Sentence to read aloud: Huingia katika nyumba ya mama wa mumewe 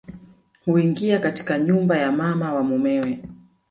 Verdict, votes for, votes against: rejected, 1, 2